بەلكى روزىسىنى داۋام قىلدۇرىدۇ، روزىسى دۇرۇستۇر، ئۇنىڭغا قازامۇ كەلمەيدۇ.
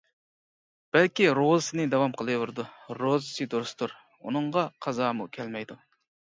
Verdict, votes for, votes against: rejected, 0, 2